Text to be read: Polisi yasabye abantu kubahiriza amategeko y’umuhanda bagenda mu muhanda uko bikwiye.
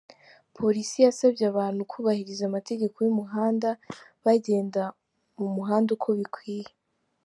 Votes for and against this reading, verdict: 2, 1, accepted